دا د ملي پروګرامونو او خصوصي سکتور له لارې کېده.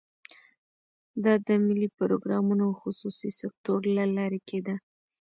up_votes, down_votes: 2, 0